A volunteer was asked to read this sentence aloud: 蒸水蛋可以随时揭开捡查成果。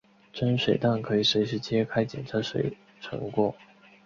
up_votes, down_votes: 2, 0